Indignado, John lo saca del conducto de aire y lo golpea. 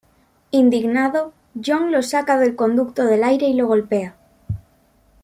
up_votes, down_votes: 0, 2